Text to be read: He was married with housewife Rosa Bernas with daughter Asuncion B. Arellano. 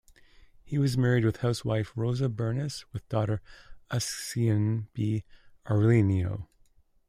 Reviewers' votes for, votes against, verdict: 0, 2, rejected